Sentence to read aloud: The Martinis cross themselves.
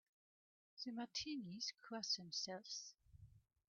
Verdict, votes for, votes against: rejected, 0, 2